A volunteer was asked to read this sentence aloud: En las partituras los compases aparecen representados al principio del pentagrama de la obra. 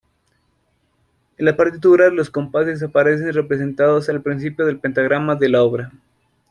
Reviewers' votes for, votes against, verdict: 0, 2, rejected